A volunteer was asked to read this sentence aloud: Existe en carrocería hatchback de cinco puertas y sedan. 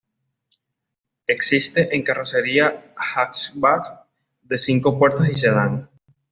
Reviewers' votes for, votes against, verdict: 2, 1, accepted